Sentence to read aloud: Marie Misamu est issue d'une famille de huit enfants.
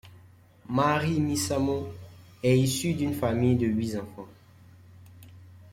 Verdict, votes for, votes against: rejected, 0, 2